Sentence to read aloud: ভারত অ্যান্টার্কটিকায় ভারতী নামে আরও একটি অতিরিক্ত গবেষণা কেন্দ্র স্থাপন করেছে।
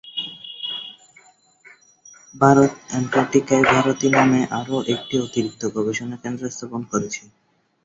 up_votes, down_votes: 1, 2